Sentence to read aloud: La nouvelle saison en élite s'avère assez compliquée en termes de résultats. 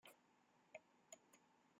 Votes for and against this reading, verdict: 0, 2, rejected